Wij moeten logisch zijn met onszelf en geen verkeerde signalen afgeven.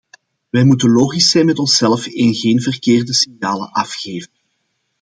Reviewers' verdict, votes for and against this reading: accepted, 2, 0